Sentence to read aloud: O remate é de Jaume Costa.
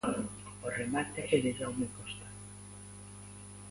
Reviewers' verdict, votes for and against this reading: rejected, 0, 2